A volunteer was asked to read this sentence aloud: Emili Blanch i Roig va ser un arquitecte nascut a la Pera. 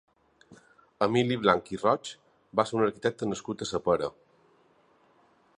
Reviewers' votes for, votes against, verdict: 0, 2, rejected